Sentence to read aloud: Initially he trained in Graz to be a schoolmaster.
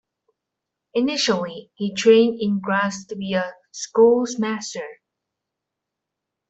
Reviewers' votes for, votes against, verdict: 1, 2, rejected